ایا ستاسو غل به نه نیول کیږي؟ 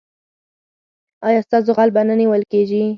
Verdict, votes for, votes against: accepted, 4, 2